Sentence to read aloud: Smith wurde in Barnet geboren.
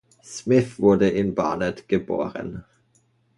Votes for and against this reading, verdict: 2, 0, accepted